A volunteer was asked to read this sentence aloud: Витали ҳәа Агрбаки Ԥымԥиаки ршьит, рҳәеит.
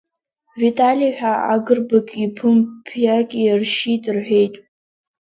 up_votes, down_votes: 3, 0